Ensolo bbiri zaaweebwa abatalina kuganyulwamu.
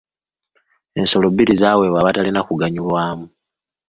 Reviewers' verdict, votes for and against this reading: accepted, 2, 0